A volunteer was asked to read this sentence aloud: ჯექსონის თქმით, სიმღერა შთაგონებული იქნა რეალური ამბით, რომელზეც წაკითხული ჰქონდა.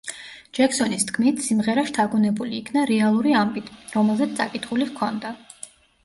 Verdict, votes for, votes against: accepted, 2, 0